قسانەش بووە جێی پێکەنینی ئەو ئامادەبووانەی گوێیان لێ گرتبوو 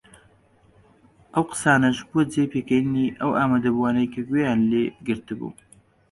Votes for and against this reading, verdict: 1, 2, rejected